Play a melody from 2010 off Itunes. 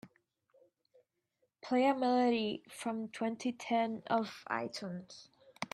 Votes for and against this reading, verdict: 0, 2, rejected